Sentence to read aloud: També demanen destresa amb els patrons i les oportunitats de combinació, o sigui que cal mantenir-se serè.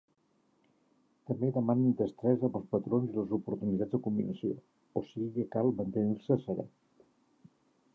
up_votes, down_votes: 1, 2